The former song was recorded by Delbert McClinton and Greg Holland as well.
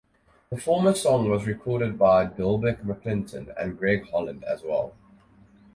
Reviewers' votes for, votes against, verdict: 4, 0, accepted